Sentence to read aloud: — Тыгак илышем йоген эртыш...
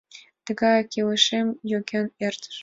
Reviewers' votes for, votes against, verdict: 1, 2, rejected